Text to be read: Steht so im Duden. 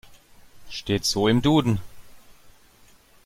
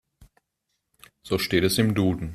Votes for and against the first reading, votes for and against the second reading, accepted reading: 2, 0, 1, 2, first